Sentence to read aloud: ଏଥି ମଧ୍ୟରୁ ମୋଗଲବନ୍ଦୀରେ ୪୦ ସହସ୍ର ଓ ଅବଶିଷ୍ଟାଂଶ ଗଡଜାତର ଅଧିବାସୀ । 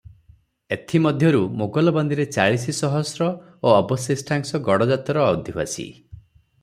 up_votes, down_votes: 0, 2